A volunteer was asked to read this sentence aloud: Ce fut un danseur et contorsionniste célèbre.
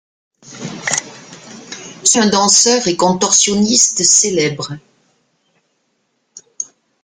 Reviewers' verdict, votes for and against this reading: rejected, 0, 2